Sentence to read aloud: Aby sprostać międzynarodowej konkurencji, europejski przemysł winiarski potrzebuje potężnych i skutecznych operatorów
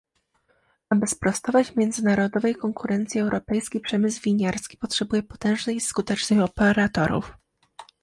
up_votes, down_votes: 0, 2